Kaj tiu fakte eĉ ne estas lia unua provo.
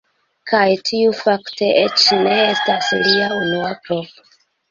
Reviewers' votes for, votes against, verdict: 0, 2, rejected